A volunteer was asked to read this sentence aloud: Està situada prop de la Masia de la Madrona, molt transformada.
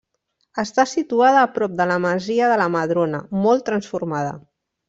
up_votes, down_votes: 1, 2